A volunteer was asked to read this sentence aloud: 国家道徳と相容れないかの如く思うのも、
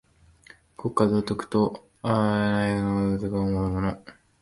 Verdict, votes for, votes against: rejected, 0, 2